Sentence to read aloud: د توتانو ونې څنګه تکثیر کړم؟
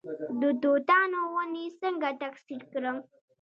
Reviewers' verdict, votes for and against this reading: rejected, 0, 2